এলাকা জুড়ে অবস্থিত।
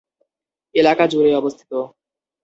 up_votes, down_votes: 2, 2